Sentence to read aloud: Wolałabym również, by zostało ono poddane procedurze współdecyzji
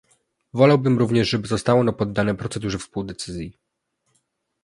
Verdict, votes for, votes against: rejected, 1, 2